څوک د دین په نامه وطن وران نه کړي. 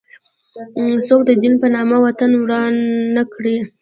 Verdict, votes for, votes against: accepted, 2, 0